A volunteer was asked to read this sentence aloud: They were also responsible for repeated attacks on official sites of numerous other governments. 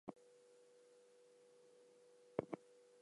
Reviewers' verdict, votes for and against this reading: accepted, 2, 0